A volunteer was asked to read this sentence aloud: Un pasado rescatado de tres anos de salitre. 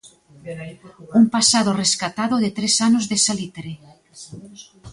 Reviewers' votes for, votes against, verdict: 1, 2, rejected